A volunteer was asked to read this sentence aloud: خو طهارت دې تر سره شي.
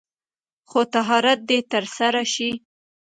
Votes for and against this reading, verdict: 1, 2, rejected